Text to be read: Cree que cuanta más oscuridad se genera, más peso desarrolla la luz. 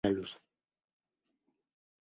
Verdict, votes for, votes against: rejected, 0, 2